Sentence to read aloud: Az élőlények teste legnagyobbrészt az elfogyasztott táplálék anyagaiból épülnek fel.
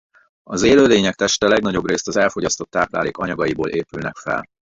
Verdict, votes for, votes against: rejected, 0, 2